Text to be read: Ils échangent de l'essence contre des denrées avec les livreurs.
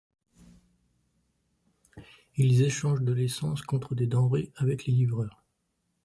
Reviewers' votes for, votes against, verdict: 2, 0, accepted